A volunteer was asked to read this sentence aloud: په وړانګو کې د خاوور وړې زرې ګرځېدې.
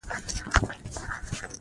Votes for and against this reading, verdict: 0, 2, rejected